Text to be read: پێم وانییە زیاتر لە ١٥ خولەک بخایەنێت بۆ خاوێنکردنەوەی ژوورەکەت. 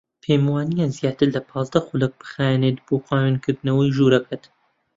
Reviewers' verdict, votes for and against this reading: rejected, 0, 2